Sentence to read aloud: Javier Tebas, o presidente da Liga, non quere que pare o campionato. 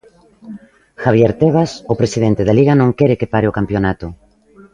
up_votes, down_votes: 2, 0